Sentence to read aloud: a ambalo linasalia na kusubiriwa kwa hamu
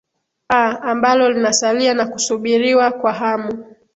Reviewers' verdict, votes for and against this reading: accepted, 3, 0